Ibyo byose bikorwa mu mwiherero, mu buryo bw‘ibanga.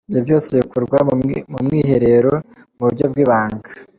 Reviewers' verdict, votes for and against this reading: rejected, 1, 2